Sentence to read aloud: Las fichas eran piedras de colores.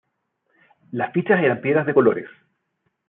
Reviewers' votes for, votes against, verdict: 0, 2, rejected